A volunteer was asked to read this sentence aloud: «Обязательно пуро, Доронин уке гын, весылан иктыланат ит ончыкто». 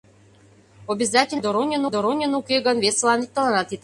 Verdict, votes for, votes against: rejected, 0, 2